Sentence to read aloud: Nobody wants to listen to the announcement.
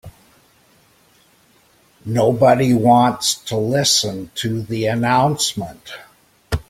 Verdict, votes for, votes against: accepted, 2, 0